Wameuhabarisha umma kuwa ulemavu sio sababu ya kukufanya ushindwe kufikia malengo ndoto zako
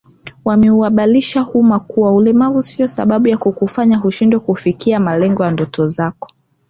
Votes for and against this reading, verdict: 2, 0, accepted